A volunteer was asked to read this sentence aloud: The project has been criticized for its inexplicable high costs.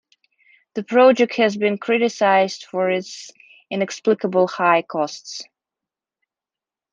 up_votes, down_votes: 2, 0